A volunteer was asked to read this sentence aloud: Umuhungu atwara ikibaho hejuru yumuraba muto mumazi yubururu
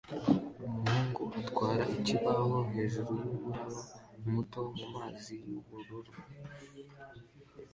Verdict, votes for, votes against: rejected, 1, 2